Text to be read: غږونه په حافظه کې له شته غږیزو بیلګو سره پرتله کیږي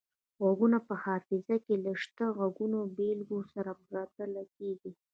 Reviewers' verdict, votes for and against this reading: rejected, 0, 2